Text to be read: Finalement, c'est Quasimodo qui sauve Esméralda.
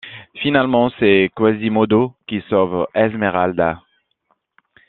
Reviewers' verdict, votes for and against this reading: rejected, 0, 2